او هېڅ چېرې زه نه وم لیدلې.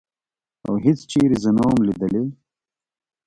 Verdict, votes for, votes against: rejected, 1, 2